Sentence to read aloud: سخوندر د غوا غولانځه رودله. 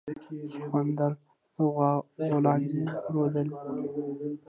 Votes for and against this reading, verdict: 1, 2, rejected